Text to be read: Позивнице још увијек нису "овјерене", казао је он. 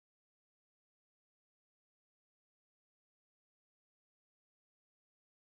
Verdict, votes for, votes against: rejected, 0, 2